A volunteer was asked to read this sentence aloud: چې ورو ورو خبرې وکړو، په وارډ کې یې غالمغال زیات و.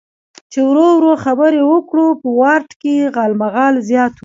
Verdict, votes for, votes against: accepted, 2, 0